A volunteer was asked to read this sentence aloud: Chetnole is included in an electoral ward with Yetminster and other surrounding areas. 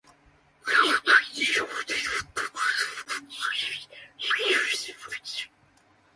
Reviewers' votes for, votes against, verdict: 0, 2, rejected